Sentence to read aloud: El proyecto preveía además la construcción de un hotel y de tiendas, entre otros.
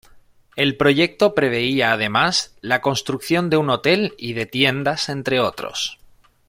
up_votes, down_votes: 1, 2